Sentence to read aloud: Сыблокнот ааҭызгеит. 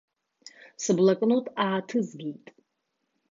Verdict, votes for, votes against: accepted, 2, 0